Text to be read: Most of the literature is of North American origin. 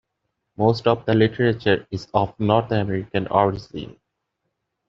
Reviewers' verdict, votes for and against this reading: accepted, 2, 0